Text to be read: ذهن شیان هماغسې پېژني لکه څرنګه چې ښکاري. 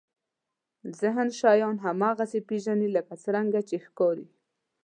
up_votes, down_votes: 2, 0